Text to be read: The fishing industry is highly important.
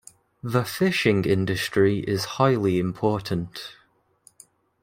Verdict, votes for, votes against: accepted, 2, 0